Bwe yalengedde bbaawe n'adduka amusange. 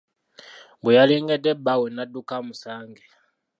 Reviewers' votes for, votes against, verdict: 3, 0, accepted